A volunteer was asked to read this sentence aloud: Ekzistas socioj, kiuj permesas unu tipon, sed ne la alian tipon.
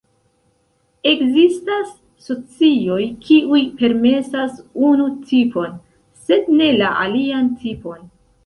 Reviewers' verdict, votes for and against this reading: rejected, 0, 2